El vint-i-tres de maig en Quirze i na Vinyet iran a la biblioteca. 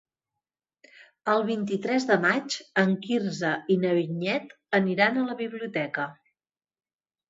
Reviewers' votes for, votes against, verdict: 0, 4, rejected